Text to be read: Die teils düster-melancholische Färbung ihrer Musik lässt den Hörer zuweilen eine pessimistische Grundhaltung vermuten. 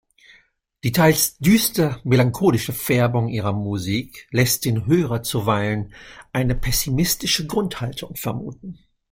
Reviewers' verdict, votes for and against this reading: accepted, 2, 1